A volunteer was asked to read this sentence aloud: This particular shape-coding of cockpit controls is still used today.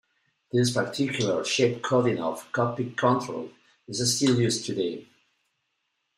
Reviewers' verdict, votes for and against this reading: accepted, 2, 1